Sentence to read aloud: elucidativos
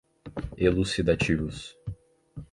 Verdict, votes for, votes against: accepted, 4, 0